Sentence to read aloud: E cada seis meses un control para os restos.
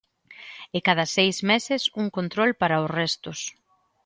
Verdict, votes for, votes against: accepted, 2, 0